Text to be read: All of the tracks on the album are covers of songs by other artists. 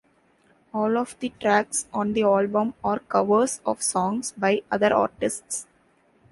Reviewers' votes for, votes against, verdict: 2, 0, accepted